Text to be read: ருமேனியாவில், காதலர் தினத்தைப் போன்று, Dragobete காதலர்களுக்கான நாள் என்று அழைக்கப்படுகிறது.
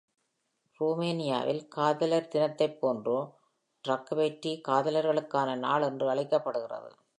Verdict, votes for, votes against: accepted, 2, 0